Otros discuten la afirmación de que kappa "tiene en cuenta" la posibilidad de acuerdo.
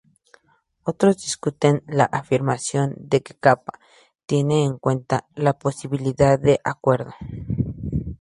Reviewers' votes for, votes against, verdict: 2, 0, accepted